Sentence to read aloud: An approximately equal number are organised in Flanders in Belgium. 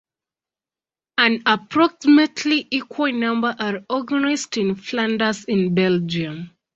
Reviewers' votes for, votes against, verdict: 2, 0, accepted